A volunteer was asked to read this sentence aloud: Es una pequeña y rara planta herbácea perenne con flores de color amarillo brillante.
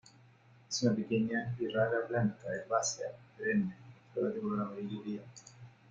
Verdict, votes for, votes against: rejected, 1, 2